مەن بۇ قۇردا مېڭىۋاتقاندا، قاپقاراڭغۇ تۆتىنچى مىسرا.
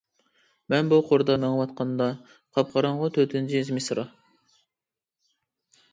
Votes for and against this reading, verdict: 0, 2, rejected